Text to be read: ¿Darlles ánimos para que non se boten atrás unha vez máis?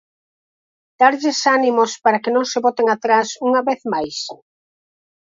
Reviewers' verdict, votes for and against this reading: accepted, 4, 2